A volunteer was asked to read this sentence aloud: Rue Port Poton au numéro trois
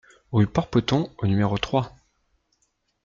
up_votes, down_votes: 2, 0